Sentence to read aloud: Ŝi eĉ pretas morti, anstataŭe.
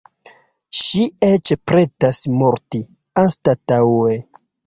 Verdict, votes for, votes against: accepted, 2, 0